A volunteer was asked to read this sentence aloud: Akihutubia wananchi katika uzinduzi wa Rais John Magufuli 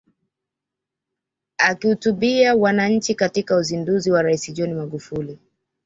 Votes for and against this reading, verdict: 2, 0, accepted